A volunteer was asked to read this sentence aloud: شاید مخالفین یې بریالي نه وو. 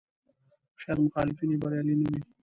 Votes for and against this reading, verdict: 0, 2, rejected